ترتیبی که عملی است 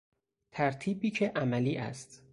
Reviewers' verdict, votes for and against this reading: accepted, 4, 0